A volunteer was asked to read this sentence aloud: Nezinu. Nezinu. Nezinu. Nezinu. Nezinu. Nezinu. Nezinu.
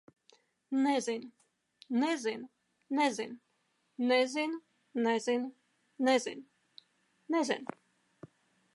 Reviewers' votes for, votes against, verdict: 2, 0, accepted